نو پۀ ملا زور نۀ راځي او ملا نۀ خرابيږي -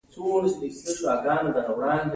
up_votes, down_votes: 2, 0